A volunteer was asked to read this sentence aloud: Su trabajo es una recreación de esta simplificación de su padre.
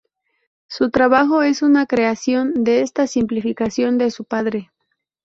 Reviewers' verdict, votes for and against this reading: rejected, 0, 4